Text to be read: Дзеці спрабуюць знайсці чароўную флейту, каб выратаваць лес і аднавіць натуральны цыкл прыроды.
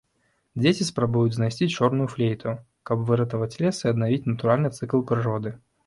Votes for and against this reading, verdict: 1, 2, rejected